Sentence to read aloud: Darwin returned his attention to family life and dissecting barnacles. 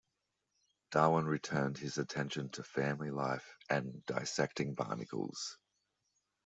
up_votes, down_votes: 2, 0